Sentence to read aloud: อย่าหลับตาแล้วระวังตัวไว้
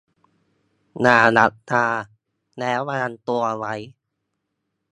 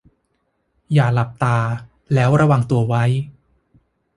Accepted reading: second